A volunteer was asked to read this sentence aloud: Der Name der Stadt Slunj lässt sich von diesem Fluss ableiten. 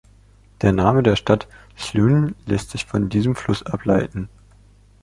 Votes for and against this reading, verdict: 2, 0, accepted